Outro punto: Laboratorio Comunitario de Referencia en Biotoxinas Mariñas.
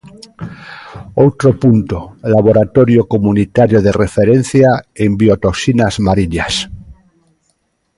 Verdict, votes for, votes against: accepted, 2, 0